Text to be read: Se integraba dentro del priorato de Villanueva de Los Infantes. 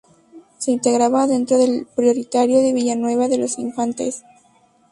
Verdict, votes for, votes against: rejected, 0, 2